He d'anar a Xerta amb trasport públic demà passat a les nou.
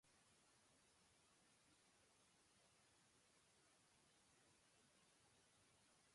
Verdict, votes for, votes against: rejected, 0, 2